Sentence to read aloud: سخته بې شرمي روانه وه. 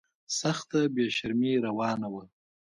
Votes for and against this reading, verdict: 2, 1, accepted